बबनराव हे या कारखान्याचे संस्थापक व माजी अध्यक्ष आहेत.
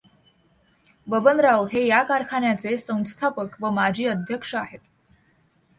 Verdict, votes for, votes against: accepted, 2, 0